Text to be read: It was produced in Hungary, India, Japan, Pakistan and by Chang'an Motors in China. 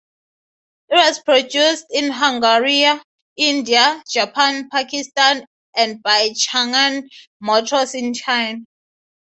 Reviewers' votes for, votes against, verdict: 3, 0, accepted